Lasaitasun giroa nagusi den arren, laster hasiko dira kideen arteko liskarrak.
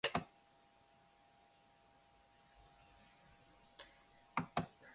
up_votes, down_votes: 0, 2